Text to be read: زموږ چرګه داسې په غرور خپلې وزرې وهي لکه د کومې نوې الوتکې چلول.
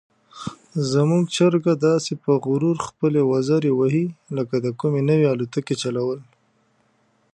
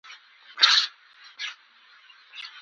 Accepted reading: first